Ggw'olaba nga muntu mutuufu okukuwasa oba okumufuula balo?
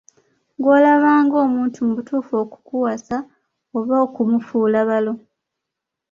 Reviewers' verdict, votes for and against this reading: accepted, 2, 1